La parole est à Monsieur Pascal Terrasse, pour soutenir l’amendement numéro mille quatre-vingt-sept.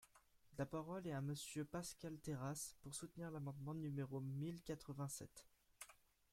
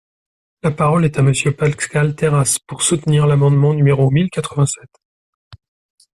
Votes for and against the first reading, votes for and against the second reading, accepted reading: 2, 0, 0, 2, first